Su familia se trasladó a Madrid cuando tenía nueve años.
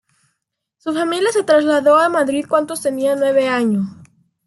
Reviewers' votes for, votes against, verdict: 1, 2, rejected